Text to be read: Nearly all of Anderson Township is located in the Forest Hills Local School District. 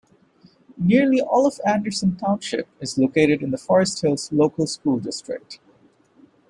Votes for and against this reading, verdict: 0, 2, rejected